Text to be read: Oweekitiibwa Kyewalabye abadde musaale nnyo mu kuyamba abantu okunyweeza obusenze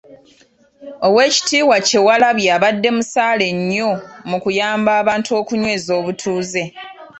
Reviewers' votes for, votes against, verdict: 1, 2, rejected